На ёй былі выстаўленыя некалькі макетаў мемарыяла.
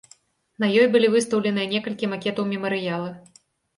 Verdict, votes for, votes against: accepted, 2, 0